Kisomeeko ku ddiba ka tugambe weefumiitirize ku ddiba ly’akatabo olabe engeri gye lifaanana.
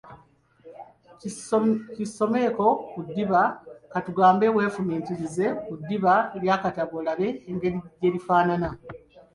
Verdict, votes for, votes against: rejected, 0, 2